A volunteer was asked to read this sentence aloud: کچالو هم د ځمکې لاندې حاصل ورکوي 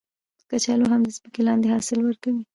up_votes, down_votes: 0, 2